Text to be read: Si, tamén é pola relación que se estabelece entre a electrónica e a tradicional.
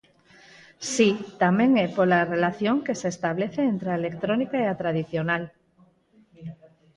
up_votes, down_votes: 2, 4